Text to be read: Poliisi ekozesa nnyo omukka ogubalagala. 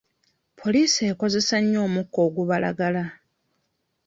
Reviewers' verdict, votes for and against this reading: accepted, 3, 0